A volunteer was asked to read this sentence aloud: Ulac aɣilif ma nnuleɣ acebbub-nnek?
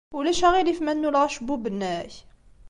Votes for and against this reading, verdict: 2, 0, accepted